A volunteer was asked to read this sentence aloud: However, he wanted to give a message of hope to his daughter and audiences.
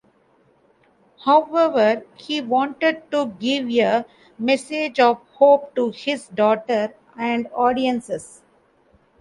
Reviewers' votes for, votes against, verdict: 2, 1, accepted